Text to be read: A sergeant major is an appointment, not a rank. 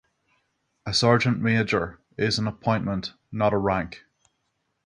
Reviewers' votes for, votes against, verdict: 3, 3, rejected